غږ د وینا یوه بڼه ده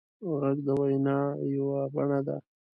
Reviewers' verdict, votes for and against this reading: accepted, 2, 0